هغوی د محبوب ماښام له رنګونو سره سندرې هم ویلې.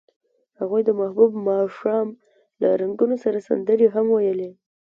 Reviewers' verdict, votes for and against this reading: accepted, 2, 0